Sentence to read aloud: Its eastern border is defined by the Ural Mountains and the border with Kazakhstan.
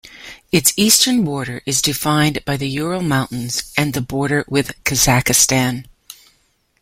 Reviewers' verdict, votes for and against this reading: rejected, 0, 2